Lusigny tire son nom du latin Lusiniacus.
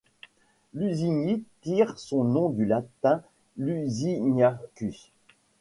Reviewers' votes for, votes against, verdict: 0, 2, rejected